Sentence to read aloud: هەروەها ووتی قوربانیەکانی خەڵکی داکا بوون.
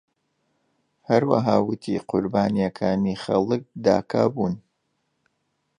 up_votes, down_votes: 0, 2